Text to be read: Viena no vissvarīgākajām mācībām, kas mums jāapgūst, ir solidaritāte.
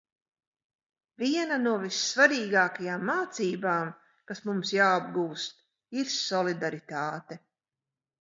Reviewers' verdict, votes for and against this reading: accepted, 4, 0